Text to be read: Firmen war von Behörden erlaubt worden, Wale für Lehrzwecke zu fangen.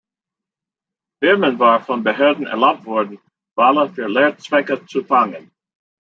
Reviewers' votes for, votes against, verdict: 2, 0, accepted